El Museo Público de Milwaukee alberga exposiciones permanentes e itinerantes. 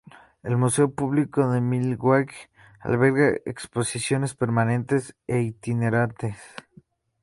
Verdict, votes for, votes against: accepted, 2, 0